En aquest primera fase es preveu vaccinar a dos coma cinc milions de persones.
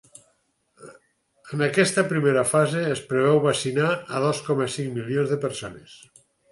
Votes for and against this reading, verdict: 0, 4, rejected